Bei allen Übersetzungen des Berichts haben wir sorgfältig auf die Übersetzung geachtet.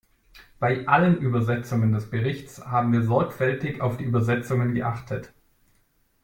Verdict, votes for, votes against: rejected, 0, 2